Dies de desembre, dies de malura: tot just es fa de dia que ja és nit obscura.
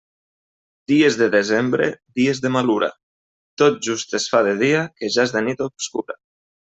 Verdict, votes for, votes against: accepted, 2, 1